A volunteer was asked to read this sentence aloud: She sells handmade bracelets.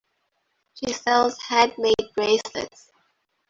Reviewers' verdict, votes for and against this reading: accepted, 2, 0